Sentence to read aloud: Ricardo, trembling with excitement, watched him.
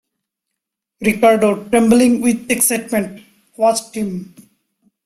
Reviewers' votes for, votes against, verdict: 2, 1, accepted